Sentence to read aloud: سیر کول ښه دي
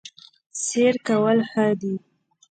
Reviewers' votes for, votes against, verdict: 0, 2, rejected